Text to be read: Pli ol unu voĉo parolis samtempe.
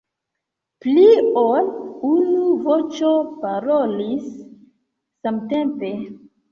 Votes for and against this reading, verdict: 2, 1, accepted